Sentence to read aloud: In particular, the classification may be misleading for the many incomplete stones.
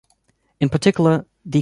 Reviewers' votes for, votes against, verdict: 0, 2, rejected